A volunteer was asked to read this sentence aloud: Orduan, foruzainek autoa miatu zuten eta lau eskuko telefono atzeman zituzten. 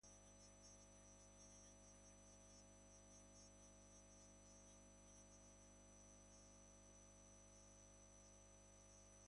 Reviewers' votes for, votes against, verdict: 0, 2, rejected